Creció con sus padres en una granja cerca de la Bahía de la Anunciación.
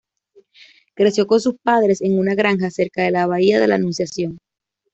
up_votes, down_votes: 2, 1